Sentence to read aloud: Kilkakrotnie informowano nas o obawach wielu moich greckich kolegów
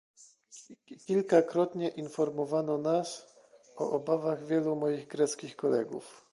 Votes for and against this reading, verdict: 1, 2, rejected